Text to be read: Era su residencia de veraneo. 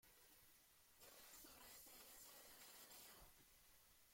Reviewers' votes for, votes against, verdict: 0, 2, rejected